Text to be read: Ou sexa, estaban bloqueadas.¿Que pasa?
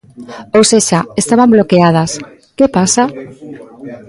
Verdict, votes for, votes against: rejected, 1, 2